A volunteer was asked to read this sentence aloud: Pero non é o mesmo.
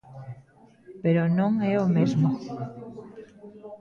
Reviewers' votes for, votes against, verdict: 2, 1, accepted